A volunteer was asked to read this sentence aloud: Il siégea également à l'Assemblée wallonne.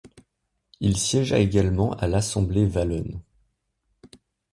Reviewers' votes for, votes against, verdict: 0, 2, rejected